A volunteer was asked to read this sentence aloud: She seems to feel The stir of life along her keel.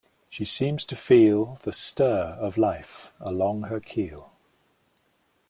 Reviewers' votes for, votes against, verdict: 2, 0, accepted